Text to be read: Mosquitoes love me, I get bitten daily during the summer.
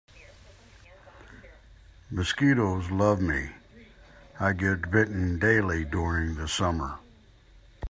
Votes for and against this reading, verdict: 2, 0, accepted